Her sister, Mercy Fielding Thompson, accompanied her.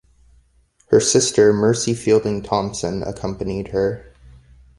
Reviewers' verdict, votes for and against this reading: accepted, 2, 0